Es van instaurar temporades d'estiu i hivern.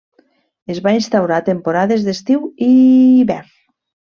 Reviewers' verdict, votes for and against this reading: accepted, 2, 0